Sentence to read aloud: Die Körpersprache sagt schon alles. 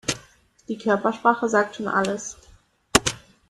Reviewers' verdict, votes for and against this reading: accepted, 2, 0